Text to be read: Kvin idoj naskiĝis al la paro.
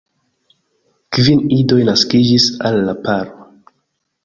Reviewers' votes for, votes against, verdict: 1, 2, rejected